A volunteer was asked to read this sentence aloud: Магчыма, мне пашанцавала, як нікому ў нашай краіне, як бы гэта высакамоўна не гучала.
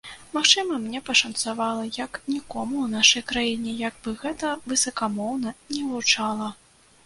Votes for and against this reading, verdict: 2, 0, accepted